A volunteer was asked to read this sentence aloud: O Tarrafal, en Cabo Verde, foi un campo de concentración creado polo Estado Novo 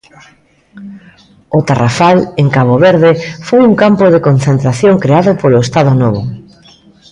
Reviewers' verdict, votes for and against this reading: accepted, 2, 0